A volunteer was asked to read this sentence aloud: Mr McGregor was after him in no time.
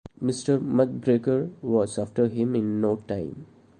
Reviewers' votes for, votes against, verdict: 2, 0, accepted